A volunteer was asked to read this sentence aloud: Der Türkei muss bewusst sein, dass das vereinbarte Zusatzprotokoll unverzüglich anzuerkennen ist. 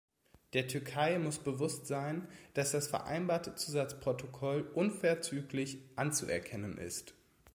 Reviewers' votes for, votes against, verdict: 2, 0, accepted